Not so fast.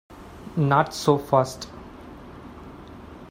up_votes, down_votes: 2, 1